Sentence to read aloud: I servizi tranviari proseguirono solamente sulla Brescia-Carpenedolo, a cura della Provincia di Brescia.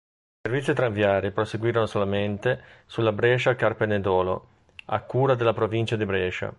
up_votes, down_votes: 1, 2